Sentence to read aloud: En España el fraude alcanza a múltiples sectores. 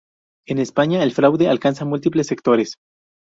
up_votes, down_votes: 0, 2